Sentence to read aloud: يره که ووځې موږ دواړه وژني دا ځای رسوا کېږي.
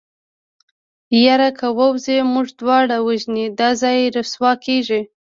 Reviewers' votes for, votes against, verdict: 0, 2, rejected